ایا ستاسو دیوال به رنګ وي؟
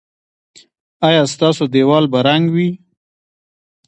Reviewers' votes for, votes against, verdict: 1, 2, rejected